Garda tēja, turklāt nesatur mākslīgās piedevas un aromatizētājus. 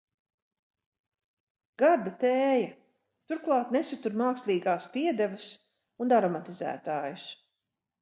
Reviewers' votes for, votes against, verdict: 4, 0, accepted